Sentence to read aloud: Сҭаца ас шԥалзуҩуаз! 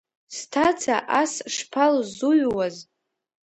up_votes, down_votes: 2, 0